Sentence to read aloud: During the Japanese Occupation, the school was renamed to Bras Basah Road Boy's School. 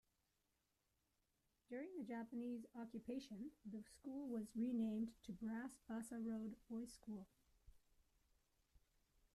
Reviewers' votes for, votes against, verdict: 1, 2, rejected